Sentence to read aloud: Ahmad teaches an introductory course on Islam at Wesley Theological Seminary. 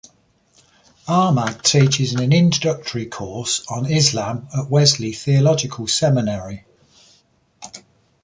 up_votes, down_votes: 2, 0